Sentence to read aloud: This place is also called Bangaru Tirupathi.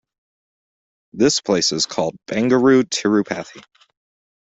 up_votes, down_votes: 1, 2